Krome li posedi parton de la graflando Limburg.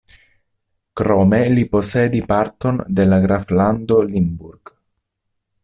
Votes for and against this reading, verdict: 2, 0, accepted